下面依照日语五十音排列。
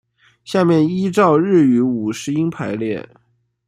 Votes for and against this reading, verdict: 2, 0, accepted